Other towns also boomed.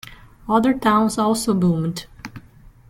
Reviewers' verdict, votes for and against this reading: accepted, 2, 0